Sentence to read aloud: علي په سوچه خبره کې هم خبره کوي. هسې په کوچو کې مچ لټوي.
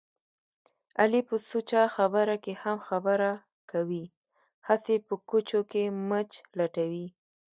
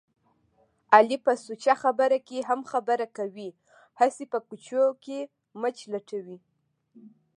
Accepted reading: first